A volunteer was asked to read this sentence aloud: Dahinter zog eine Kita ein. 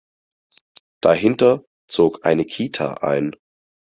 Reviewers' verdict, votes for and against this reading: accepted, 4, 0